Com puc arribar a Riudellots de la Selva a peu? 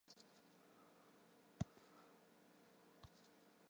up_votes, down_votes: 1, 2